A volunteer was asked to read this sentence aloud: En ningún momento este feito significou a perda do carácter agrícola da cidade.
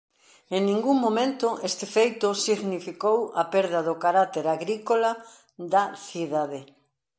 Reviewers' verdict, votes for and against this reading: accepted, 2, 0